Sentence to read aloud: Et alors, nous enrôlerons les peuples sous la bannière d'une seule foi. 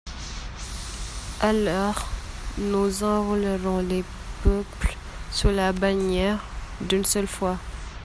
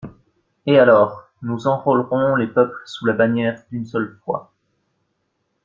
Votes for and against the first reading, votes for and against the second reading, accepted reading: 0, 2, 2, 0, second